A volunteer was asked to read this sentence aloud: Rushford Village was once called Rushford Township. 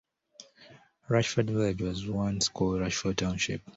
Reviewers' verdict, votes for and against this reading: rejected, 1, 2